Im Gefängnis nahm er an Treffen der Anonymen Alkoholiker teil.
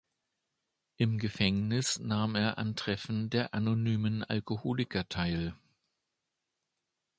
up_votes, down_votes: 2, 0